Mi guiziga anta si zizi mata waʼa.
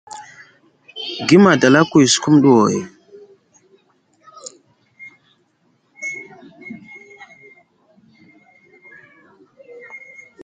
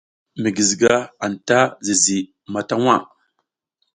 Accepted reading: second